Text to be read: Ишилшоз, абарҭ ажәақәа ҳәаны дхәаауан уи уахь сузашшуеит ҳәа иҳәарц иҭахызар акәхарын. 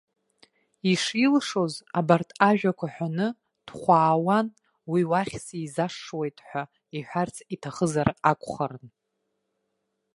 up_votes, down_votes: 1, 2